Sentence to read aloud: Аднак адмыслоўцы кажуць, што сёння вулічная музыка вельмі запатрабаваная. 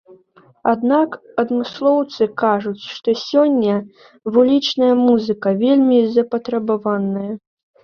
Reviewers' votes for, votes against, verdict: 1, 2, rejected